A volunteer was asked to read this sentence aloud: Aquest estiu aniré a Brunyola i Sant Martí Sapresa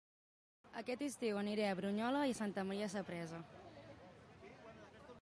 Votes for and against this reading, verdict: 0, 2, rejected